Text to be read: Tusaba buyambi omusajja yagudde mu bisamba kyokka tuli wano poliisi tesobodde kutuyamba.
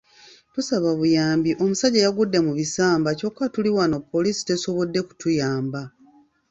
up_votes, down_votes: 2, 0